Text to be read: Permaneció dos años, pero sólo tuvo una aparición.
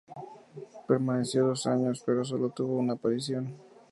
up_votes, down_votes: 4, 0